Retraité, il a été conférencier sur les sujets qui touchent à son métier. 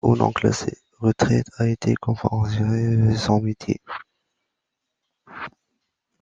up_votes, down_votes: 0, 2